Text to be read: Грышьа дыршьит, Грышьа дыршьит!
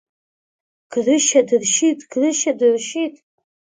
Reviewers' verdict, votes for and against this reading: accepted, 2, 0